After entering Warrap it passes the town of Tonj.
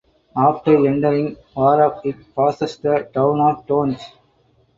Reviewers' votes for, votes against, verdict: 2, 2, rejected